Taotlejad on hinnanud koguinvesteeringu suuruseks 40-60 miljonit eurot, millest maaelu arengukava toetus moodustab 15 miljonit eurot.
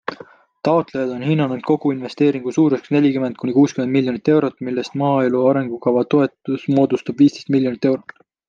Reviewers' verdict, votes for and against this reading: rejected, 0, 2